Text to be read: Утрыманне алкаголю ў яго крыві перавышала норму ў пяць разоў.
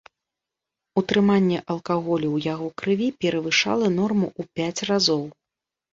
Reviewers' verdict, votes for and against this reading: accepted, 2, 0